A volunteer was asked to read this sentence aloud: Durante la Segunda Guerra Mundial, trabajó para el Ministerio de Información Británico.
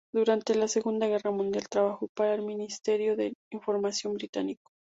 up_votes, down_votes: 6, 0